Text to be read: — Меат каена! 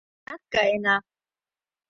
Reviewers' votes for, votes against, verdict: 0, 2, rejected